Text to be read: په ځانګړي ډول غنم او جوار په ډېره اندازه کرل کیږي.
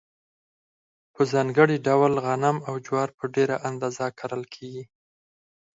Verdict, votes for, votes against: rejected, 0, 4